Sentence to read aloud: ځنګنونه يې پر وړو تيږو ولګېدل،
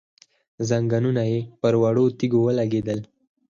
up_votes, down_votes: 4, 2